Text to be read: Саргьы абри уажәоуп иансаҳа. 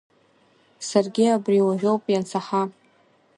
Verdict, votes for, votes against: accepted, 2, 1